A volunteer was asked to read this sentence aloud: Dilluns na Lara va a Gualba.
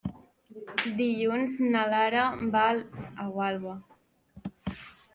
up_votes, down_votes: 1, 2